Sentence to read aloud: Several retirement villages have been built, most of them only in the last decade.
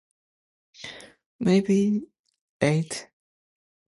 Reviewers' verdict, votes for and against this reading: rejected, 1, 2